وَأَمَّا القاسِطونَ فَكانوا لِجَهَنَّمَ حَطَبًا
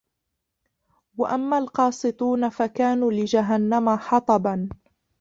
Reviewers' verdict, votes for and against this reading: rejected, 0, 2